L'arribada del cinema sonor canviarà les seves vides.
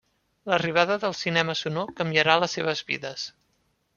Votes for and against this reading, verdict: 3, 0, accepted